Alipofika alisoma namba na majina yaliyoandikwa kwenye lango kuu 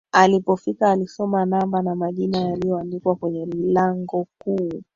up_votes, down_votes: 2, 3